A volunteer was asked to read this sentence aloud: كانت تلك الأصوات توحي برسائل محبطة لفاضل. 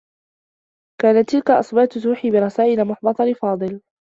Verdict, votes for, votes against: rejected, 1, 2